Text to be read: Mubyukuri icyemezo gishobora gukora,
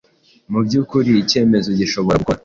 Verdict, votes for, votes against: rejected, 1, 2